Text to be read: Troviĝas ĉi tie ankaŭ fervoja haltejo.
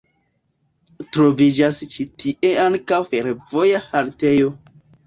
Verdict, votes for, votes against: accepted, 2, 0